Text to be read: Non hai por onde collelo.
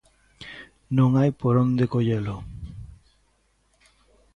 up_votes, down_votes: 2, 0